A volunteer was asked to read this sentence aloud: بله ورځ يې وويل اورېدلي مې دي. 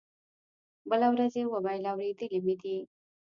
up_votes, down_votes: 1, 2